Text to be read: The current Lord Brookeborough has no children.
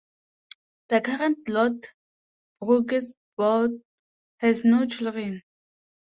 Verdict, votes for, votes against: rejected, 1, 9